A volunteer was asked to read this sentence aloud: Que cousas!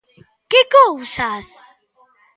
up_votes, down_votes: 2, 0